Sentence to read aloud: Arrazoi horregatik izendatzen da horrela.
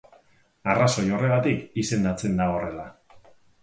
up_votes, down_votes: 2, 0